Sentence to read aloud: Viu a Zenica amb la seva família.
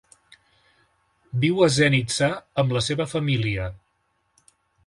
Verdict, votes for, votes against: rejected, 1, 2